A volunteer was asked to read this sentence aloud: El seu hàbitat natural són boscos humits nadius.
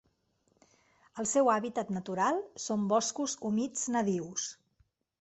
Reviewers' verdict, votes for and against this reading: accepted, 3, 0